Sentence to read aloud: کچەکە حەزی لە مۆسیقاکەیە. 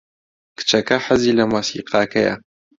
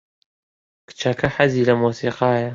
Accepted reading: first